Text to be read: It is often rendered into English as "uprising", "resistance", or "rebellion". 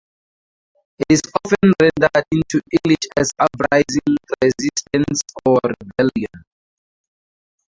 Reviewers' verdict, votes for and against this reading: rejected, 2, 2